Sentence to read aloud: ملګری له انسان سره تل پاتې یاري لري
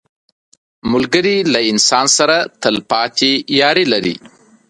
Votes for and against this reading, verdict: 2, 0, accepted